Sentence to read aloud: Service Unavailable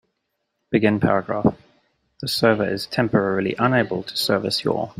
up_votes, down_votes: 1, 3